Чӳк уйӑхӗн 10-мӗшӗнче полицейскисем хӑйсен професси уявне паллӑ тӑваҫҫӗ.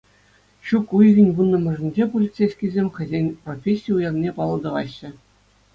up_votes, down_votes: 0, 2